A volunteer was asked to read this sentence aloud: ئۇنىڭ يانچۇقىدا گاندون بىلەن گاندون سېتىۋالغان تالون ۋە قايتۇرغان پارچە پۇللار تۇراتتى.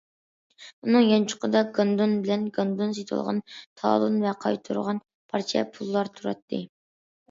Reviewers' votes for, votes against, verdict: 2, 0, accepted